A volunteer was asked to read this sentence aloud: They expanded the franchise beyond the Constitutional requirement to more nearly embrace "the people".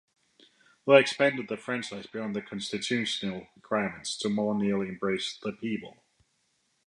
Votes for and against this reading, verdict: 2, 0, accepted